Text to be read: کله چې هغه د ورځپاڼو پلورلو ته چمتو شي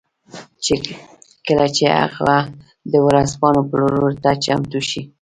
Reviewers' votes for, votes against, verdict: 2, 1, accepted